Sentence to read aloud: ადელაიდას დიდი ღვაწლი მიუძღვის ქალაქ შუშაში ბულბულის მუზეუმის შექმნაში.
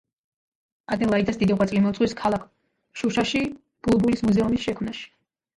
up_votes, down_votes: 0, 2